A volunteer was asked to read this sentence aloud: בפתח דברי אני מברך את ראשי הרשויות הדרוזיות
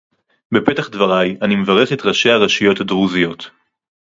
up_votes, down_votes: 2, 0